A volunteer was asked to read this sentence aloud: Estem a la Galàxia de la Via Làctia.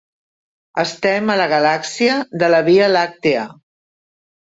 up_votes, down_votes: 0, 2